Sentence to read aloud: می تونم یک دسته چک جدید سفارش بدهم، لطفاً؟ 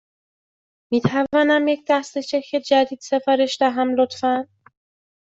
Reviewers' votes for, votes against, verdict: 1, 2, rejected